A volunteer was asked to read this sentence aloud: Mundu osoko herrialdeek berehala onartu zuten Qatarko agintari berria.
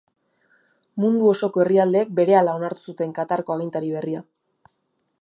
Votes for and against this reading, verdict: 2, 0, accepted